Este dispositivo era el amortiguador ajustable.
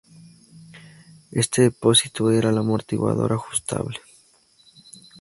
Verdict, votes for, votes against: rejected, 0, 2